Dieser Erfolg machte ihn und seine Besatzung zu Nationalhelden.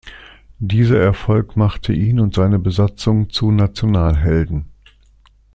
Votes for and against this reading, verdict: 2, 0, accepted